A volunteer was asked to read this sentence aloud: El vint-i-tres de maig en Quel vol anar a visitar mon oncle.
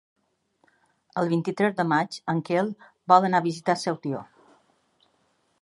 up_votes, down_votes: 0, 2